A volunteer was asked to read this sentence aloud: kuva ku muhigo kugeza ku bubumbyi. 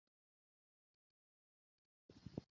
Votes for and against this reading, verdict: 0, 2, rejected